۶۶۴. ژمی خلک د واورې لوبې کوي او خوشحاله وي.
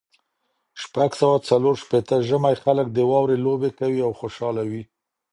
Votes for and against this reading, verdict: 0, 2, rejected